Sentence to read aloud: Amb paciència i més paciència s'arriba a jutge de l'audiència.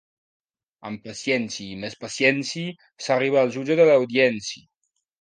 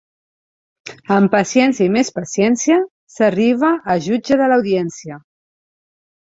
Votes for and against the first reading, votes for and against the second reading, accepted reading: 0, 2, 2, 0, second